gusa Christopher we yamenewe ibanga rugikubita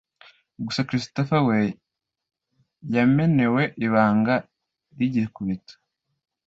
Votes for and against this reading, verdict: 1, 2, rejected